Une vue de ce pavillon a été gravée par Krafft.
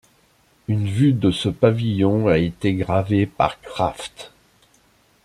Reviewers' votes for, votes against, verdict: 2, 0, accepted